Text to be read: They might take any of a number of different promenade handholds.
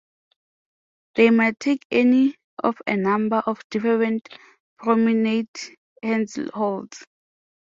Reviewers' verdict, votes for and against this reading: accepted, 2, 0